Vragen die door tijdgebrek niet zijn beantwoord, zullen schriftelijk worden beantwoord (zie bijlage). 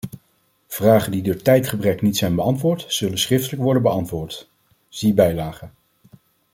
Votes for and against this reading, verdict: 2, 0, accepted